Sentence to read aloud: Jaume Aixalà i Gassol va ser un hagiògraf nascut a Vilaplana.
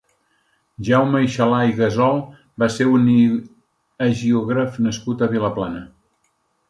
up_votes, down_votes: 0, 2